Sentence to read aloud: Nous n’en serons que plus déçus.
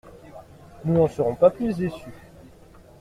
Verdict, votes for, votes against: rejected, 0, 2